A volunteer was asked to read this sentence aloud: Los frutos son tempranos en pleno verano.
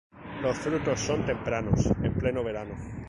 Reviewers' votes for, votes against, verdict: 2, 0, accepted